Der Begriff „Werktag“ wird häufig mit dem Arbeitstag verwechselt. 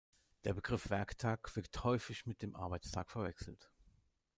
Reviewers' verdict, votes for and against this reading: rejected, 1, 2